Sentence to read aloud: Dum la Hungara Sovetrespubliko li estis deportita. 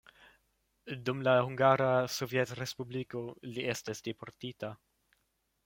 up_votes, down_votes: 1, 2